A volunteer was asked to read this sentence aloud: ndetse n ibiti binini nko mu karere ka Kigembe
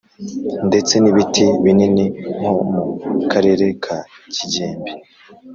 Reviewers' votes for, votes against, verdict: 2, 0, accepted